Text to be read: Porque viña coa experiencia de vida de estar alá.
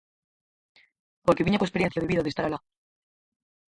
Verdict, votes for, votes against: rejected, 0, 4